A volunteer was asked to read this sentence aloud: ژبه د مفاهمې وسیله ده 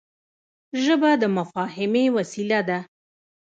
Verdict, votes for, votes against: rejected, 0, 2